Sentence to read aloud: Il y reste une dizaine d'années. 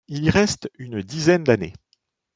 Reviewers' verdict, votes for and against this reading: accepted, 2, 0